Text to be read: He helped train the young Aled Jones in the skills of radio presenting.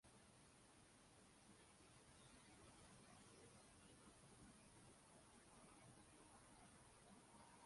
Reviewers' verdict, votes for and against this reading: rejected, 0, 2